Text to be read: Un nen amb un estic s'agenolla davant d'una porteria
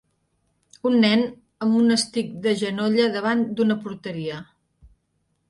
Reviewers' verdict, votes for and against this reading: rejected, 0, 2